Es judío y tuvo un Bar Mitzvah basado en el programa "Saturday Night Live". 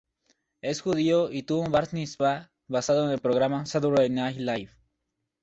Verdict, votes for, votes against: rejected, 0, 2